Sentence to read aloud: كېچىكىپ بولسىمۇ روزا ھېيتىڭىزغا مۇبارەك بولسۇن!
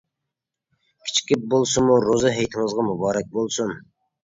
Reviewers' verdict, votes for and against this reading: accepted, 2, 0